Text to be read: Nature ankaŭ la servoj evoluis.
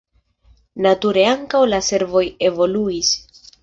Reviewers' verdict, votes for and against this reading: accepted, 2, 0